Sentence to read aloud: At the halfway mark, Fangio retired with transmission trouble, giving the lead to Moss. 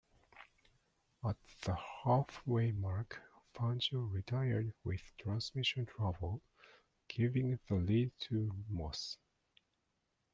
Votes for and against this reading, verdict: 2, 0, accepted